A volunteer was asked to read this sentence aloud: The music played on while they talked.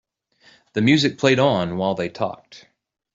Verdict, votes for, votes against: accepted, 2, 0